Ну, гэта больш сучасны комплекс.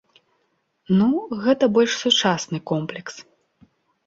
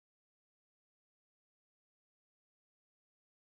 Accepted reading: first